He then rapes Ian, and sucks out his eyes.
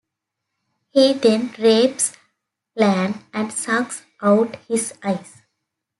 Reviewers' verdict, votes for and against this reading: rejected, 1, 2